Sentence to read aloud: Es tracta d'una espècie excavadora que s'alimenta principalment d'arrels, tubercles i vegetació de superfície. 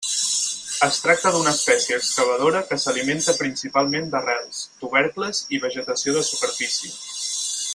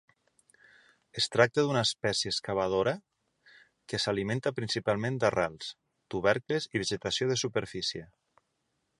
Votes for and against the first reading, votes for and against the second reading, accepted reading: 2, 4, 2, 0, second